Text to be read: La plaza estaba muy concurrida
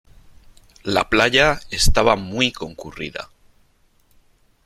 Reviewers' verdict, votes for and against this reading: rejected, 0, 3